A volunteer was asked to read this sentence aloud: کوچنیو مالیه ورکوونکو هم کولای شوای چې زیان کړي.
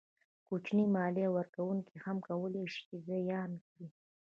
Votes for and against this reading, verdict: 1, 2, rejected